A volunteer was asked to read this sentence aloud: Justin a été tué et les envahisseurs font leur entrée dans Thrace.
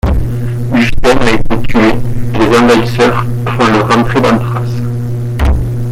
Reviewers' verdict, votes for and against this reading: rejected, 1, 2